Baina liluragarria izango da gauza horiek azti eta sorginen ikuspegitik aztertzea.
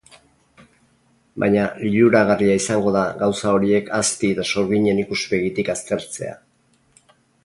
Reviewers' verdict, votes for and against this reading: rejected, 2, 2